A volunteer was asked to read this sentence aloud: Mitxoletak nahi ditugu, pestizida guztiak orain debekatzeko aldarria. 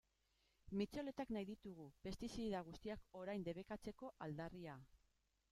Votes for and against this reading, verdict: 1, 2, rejected